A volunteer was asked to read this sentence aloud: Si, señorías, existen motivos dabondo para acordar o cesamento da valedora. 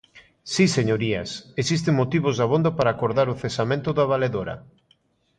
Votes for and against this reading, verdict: 2, 0, accepted